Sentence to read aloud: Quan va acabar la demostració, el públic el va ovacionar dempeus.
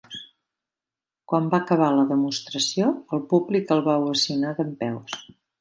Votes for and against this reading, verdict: 2, 0, accepted